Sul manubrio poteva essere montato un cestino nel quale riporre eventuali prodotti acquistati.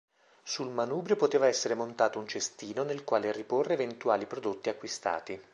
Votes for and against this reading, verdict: 2, 0, accepted